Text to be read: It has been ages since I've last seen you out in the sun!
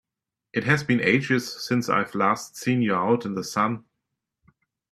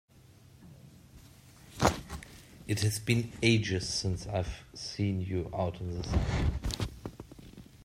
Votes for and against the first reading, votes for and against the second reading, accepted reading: 2, 0, 0, 2, first